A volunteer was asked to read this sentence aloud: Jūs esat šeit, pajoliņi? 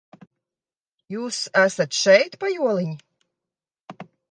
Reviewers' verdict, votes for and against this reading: accepted, 2, 0